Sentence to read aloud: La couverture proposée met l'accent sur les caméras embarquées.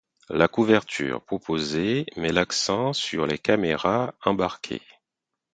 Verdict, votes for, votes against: accepted, 4, 0